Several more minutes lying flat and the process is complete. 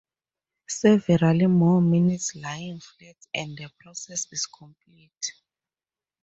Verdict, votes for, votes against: accepted, 4, 2